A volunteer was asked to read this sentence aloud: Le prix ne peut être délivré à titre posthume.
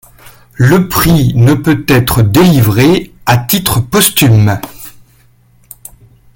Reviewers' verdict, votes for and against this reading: rejected, 1, 2